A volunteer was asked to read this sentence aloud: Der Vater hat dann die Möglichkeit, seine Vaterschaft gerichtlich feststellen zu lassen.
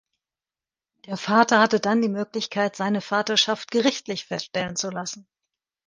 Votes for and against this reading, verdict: 0, 2, rejected